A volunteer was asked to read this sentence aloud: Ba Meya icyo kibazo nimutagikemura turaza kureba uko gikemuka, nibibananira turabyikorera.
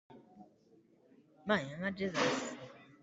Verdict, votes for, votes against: rejected, 0, 2